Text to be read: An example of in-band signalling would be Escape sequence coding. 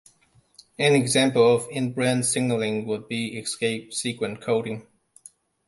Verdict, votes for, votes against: rejected, 0, 2